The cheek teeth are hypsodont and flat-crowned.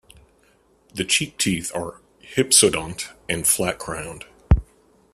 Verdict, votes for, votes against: accepted, 2, 0